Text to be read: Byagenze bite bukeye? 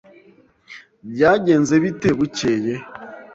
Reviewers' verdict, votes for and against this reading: accepted, 2, 0